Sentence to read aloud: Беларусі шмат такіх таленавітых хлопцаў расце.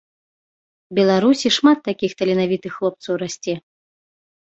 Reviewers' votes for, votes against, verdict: 2, 0, accepted